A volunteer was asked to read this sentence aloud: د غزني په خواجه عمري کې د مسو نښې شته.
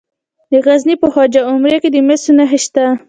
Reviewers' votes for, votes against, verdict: 2, 0, accepted